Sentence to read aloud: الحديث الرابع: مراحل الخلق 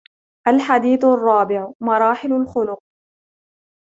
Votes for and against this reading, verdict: 0, 2, rejected